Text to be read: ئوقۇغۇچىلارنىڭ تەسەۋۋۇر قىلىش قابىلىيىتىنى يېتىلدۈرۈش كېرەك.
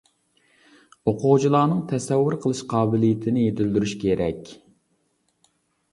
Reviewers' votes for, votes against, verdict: 3, 0, accepted